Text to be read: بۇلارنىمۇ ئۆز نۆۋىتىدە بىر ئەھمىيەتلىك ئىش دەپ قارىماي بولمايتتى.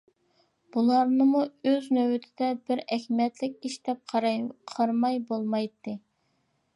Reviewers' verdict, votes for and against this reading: rejected, 0, 2